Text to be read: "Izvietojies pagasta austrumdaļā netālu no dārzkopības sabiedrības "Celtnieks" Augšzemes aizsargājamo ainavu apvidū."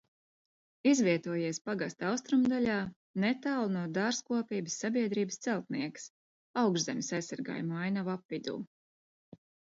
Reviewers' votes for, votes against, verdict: 2, 0, accepted